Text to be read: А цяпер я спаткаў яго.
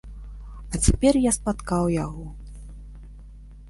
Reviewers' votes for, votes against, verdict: 2, 0, accepted